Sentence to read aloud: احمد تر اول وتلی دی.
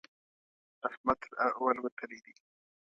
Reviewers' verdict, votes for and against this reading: accepted, 2, 0